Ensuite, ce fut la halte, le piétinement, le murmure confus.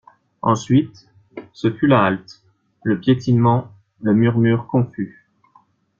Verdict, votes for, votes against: accepted, 2, 0